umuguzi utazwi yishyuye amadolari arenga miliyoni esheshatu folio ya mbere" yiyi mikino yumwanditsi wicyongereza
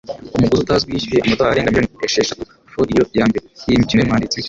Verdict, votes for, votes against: rejected, 0, 2